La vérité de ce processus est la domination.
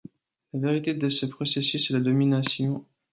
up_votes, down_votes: 2, 0